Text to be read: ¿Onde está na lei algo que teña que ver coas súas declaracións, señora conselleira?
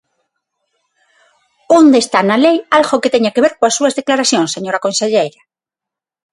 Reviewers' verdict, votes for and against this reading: accepted, 6, 0